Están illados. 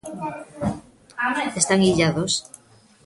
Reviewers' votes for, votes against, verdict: 0, 2, rejected